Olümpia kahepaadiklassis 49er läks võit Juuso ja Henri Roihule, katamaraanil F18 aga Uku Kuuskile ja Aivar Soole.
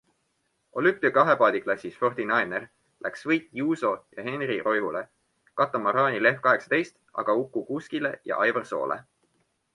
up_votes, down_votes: 0, 2